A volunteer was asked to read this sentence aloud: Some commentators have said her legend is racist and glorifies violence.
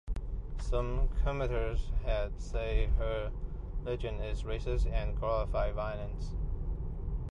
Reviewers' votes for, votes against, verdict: 1, 2, rejected